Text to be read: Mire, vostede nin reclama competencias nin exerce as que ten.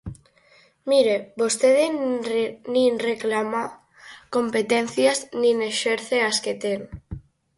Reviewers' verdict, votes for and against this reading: rejected, 0, 4